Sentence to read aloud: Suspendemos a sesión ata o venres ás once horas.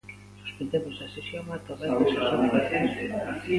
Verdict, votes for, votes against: rejected, 0, 3